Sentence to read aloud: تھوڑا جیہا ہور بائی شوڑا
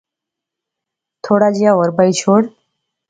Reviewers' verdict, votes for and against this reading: accepted, 2, 0